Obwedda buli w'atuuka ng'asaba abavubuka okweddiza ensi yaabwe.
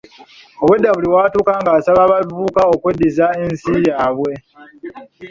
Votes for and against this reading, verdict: 3, 0, accepted